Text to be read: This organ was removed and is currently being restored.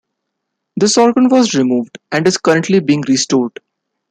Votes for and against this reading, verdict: 2, 0, accepted